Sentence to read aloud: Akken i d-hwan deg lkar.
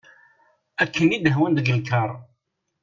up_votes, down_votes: 2, 0